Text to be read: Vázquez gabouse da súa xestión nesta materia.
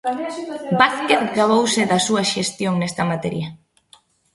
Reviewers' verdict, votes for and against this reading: rejected, 1, 2